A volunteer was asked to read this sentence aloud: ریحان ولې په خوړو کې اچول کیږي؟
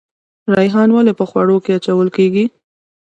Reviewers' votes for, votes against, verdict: 2, 0, accepted